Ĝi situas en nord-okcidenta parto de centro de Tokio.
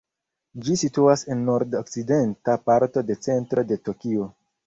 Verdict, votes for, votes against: rejected, 0, 2